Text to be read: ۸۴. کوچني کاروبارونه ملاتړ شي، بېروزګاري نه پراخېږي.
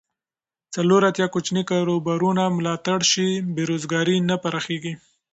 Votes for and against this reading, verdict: 0, 2, rejected